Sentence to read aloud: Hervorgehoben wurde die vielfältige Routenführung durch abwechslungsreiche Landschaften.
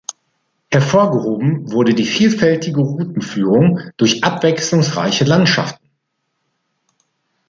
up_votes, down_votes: 2, 0